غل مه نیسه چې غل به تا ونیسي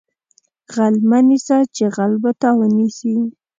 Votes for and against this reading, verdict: 2, 0, accepted